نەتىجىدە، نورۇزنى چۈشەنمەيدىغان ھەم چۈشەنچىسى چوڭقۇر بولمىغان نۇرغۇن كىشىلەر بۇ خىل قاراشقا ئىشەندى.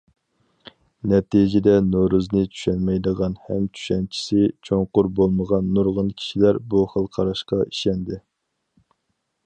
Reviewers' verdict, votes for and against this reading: accepted, 4, 0